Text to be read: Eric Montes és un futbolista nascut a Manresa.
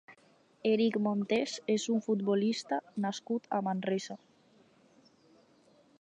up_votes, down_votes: 6, 0